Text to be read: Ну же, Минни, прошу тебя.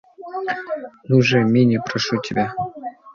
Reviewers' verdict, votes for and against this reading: accepted, 2, 0